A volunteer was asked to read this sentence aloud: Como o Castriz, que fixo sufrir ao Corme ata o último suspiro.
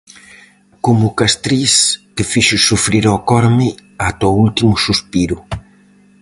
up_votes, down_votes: 4, 0